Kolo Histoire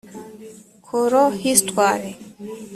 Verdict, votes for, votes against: rejected, 1, 2